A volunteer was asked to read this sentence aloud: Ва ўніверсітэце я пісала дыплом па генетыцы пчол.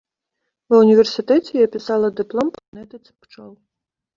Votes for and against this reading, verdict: 1, 2, rejected